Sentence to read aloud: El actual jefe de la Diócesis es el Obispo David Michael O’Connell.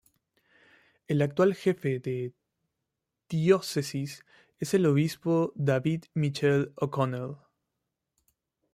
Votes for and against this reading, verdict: 1, 2, rejected